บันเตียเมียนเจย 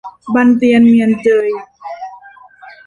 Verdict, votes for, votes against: rejected, 0, 2